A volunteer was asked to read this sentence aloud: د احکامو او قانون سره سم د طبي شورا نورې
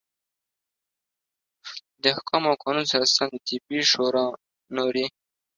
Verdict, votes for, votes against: accepted, 2, 1